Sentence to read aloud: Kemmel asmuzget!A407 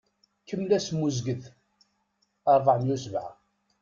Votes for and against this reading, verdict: 0, 2, rejected